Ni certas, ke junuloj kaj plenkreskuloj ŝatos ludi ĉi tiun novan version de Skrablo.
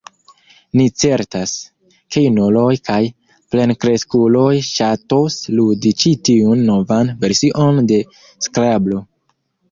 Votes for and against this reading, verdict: 0, 2, rejected